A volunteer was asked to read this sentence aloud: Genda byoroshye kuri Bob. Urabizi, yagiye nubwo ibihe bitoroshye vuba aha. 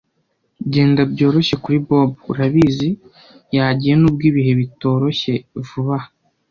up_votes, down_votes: 1, 2